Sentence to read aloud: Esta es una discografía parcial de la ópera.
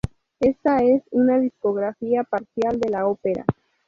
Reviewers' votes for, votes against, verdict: 0, 2, rejected